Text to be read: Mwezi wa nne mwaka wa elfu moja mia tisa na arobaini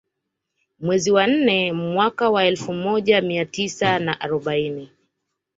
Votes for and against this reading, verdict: 2, 0, accepted